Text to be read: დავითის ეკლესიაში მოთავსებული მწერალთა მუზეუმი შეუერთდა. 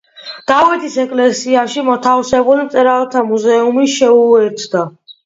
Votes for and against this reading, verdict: 2, 0, accepted